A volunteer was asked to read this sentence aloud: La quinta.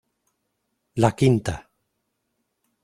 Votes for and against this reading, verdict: 2, 0, accepted